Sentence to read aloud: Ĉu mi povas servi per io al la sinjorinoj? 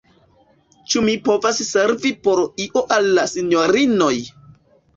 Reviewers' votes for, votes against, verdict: 0, 2, rejected